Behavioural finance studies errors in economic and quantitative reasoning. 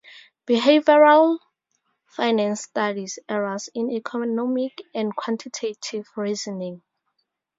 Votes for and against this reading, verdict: 0, 4, rejected